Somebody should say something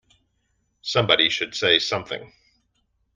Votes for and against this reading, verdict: 2, 0, accepted